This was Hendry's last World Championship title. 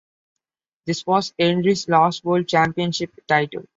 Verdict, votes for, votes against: accepted, 2, 0